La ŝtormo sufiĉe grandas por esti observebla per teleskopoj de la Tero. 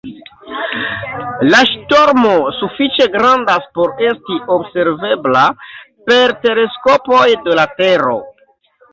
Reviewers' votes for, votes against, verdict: 1, 2, rejected